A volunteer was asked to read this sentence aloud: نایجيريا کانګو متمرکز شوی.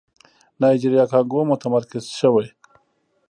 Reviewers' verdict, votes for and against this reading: accepted, 2, 0